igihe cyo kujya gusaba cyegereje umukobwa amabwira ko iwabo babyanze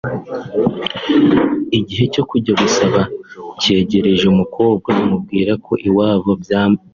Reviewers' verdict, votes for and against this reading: rejected, 1, 2